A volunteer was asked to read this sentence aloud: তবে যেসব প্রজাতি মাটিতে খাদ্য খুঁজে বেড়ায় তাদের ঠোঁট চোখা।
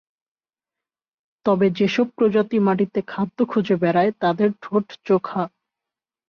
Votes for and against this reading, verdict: 2, 0, accepted